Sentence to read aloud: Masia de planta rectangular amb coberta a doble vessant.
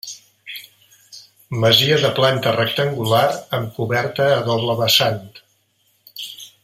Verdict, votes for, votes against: accepted, 2, 0